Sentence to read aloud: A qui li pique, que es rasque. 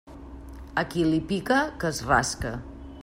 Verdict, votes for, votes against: accepted, 2, 1